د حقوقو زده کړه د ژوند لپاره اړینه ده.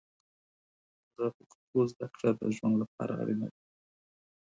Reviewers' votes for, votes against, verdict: 2, 4, rejected